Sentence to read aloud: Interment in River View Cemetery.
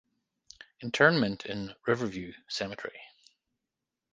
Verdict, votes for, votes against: accepted, 6, 0